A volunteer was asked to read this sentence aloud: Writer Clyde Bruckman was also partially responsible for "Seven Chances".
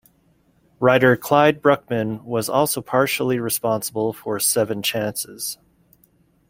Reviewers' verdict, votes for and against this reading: accepted, 2, 0